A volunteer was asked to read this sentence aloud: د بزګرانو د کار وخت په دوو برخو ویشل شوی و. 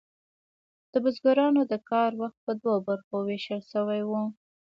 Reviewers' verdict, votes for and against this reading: accepted, 2, 0